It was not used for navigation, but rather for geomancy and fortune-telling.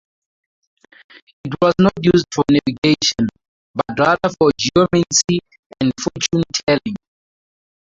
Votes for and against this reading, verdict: 0, 2, rejected